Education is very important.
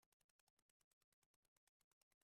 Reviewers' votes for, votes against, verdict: 0, 2, rejected